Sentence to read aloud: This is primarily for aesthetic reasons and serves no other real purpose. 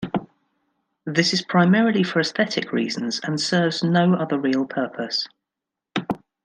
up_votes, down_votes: 2, 0